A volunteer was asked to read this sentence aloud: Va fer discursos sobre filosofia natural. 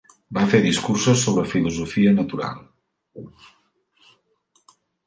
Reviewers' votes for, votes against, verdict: 2, 0, accepted